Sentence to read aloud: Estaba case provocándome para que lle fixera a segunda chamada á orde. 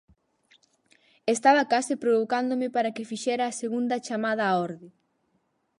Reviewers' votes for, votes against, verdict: 4, 6, rejected